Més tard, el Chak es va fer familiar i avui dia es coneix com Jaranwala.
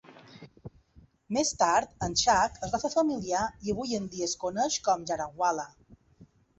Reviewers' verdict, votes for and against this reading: rejected, 0, 2